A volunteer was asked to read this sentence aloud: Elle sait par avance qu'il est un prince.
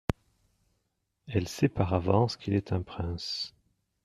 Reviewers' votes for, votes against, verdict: 2, 0, accepted